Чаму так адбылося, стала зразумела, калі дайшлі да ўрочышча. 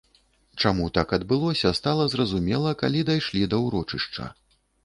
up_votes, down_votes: 2, 0